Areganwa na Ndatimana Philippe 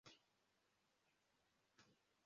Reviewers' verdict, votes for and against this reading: rejected, 0, 2